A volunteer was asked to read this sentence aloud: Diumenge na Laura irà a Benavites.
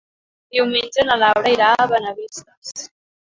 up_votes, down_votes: 0, 2